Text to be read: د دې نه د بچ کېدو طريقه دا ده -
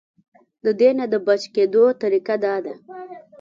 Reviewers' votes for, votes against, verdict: 3, 1, accepted